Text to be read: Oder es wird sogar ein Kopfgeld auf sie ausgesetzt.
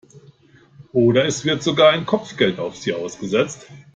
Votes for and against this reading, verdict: 1, 2, rejected